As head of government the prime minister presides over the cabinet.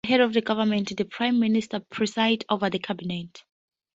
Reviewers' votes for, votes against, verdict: 0, 2, rejected